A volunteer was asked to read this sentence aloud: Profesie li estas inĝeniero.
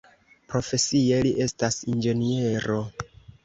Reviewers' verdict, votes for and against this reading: accepted, 2, 0